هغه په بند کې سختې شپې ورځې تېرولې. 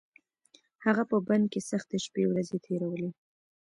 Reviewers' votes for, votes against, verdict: 2, 0, accepted